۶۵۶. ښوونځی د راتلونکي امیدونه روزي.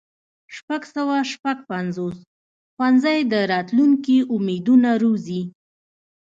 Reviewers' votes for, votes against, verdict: 0, 2, rejected